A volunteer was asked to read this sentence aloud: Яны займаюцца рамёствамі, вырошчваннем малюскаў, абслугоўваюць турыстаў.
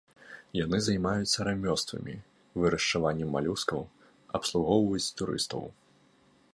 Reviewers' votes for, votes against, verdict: 0, 2, rejected